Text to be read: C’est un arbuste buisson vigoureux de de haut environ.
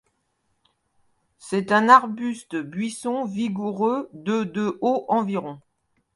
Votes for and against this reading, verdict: 2, 0, accepted